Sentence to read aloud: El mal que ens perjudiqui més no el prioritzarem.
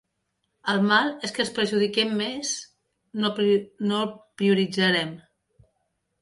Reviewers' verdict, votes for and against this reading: rejected, 0, 2